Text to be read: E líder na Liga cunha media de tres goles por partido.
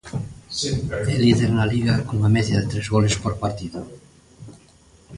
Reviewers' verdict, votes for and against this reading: rejected, 1, 2